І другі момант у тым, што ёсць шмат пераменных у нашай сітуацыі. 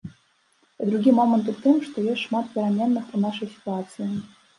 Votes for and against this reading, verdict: 2, 0, accepted